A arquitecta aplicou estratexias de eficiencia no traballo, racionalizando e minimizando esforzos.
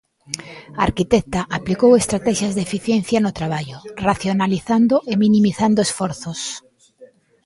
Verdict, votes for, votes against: rejected, 1, 2